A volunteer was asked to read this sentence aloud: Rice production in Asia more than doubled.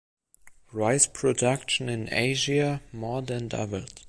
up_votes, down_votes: 2, 0